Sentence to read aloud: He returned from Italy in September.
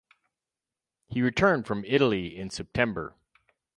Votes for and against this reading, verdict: 4, 0, accepted